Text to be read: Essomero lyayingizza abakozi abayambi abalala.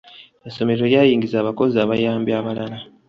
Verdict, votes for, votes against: rejected, 1, 2